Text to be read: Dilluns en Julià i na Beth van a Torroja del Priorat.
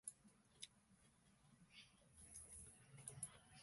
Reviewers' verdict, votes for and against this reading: rejected, 0, 2